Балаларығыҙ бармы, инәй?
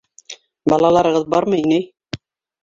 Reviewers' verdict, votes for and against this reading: accepted, 2, 1